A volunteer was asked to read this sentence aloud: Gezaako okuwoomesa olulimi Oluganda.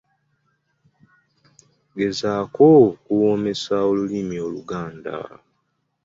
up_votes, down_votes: 2, 0